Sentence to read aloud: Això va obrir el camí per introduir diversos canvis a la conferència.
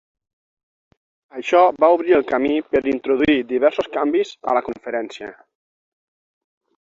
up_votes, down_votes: 6, 0